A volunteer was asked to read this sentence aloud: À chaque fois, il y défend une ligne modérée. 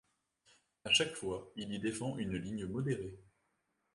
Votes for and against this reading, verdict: 2, 1, accepted